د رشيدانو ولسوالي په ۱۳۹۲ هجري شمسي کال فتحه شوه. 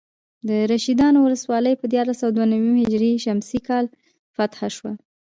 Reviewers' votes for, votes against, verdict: 0, 2, rejected